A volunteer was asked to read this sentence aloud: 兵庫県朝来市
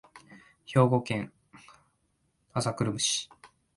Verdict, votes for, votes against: rejected, 0, 2